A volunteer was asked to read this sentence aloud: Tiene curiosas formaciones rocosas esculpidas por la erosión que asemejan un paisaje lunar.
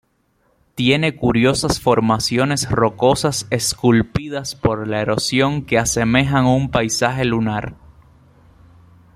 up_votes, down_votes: 0, 2